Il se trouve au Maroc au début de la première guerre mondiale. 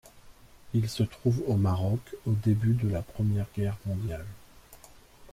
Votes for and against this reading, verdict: 2, 0, accepted